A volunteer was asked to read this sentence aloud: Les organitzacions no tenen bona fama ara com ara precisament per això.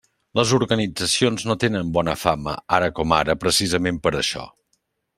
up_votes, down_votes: 3, 0